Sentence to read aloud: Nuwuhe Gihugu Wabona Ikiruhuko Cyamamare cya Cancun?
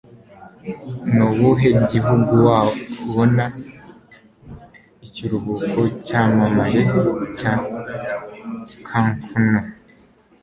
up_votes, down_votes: 1, 2